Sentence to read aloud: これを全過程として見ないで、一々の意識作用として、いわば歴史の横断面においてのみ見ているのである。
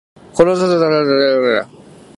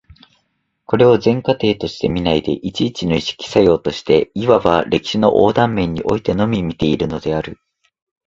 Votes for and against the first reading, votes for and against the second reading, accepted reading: 0, 2, 2, 0, second